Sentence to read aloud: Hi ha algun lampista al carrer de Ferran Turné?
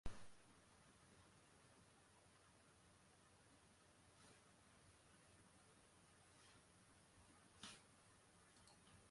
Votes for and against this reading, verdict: 0, 2, rejected